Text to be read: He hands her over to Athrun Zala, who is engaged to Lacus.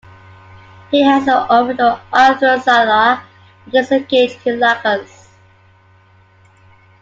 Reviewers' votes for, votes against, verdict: 2, 0, accepted